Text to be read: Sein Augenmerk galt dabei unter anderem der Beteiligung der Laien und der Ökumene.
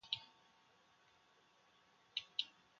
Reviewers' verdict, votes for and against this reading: rejected, 0, 2